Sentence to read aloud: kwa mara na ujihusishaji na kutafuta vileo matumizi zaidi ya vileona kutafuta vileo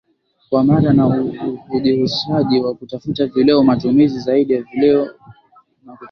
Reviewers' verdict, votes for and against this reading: rejected, 0, 2